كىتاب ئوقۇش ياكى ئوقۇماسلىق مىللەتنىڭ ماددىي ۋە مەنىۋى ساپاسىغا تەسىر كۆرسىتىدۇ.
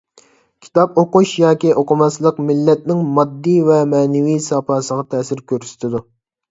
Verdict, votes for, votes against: accepted, 2, 0